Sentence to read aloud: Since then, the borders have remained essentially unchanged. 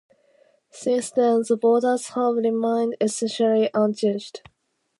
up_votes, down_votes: 2, 0